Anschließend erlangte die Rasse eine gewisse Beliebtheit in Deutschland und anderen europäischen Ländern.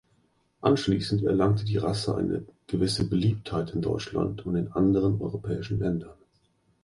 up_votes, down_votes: 2, 0